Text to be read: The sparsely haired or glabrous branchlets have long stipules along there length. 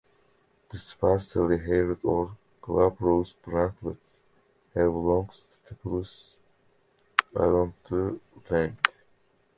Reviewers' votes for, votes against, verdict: 0, 2, rejected